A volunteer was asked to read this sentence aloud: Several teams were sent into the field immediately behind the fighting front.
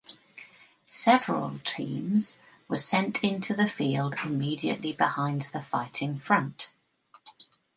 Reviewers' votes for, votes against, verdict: 2, 0, accepted